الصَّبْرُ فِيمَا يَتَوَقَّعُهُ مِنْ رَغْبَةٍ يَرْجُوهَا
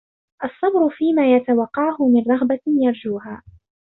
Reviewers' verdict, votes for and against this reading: accepted, 2, 0